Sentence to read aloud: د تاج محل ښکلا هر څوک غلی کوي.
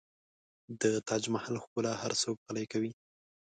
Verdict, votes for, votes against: accepted, 2, 1